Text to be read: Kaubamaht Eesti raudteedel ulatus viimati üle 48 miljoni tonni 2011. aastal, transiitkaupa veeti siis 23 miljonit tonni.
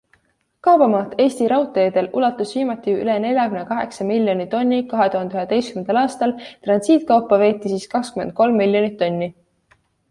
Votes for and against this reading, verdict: 0, 2, rejected